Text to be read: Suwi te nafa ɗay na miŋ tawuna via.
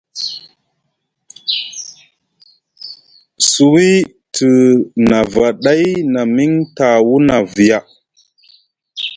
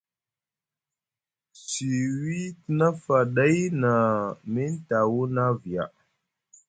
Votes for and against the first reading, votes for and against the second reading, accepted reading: 2, 0, 0, 2, first